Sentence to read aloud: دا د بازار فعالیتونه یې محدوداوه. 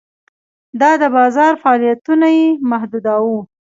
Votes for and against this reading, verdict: 2, 0, accepted